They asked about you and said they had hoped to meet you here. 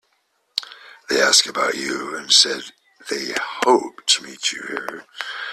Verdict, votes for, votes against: accepted, 2, 1